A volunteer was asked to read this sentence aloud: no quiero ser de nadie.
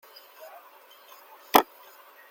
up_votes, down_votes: 0, 2